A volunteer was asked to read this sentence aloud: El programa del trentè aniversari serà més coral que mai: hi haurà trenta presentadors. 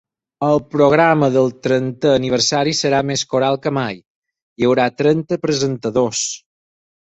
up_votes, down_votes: 8, 0